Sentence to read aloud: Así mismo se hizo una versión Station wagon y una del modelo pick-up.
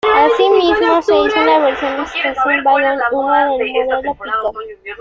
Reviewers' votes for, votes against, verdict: 0, 2, rejected